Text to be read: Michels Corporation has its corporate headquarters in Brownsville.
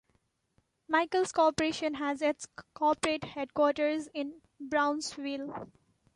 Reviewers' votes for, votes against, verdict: 2, 0, accepted